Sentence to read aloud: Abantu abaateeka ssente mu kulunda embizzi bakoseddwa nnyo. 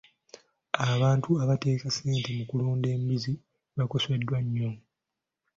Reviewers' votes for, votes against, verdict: 2, 0, accepted